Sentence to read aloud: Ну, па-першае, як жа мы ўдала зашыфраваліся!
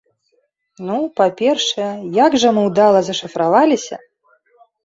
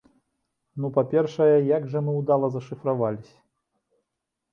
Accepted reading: first